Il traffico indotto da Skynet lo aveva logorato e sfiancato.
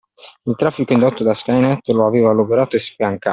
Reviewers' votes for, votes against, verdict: 0, 2, rejected